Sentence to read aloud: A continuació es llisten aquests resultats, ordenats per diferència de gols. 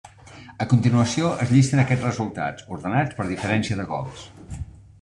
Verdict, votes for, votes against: accepted, 3, 0